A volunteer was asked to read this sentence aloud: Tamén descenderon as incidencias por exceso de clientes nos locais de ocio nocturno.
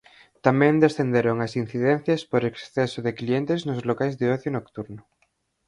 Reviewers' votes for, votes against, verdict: 4, 0, accepted